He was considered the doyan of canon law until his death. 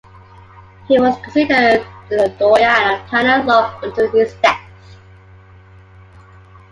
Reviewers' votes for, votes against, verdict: 2, 1, accepted